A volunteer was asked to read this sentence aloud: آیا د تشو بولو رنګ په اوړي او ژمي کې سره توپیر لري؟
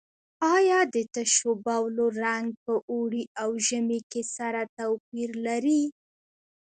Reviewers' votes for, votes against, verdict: 2, 0, accepted